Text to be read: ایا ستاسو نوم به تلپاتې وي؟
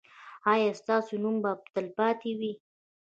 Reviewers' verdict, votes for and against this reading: accepted, 2, 1